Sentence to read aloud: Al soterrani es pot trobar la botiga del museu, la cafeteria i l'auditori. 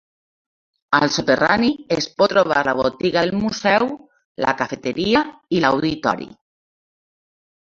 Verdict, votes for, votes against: accepted, 2, 1